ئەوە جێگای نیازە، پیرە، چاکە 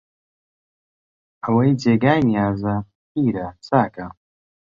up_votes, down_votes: 1, 2